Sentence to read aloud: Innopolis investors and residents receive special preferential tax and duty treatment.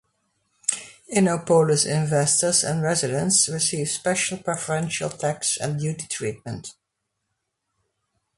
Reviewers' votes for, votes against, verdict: 2, 0, accepted